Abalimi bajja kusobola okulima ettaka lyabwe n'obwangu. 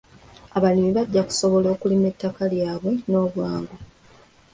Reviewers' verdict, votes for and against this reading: accepted, 2, 0